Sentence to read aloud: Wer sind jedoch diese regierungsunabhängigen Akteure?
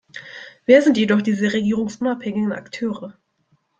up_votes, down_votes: 2, 1